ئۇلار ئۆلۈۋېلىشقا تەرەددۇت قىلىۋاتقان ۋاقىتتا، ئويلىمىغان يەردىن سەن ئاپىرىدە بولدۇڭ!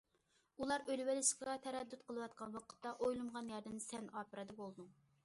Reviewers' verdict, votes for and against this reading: accepted, 2, 0